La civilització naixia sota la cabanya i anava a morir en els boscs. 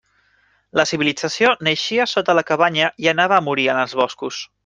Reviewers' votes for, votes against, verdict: 1, 2, rejected